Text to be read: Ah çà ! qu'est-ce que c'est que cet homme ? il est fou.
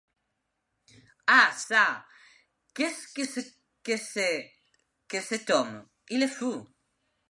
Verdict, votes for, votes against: rejected, 1, 2